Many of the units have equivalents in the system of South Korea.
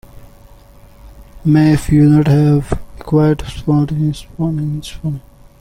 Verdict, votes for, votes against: rejected, 0, 2